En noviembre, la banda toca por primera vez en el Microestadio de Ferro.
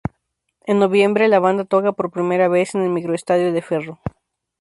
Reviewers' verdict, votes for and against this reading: accepted, 2, 0